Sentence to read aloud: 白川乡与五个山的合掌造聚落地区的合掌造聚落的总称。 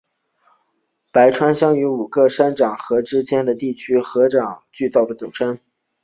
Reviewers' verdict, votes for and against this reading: rejected, 0, 2